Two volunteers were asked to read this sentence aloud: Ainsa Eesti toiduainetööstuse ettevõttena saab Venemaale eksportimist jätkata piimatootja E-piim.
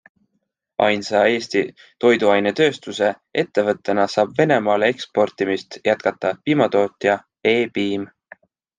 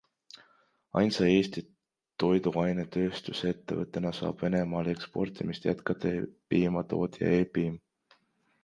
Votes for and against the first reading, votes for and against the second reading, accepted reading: 2, 0, 1, 2, first